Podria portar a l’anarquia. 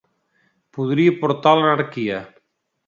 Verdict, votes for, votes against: rejected, 1, 2